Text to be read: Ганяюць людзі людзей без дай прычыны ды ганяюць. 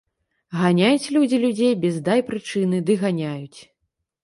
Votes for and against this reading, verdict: 1, 2, rejected